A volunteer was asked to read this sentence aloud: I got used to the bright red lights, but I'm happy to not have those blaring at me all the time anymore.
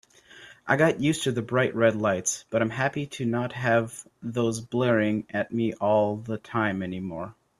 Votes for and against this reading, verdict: 3, 0, accepted